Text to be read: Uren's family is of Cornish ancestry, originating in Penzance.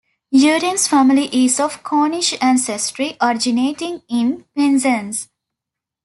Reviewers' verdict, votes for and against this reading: accepted, 2, 0